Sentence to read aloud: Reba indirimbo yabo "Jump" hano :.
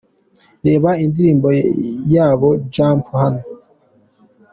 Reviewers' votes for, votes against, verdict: 2, 0, accepted